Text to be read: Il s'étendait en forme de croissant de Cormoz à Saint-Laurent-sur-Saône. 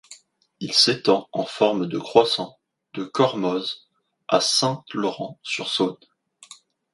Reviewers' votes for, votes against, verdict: 0, 2, rejected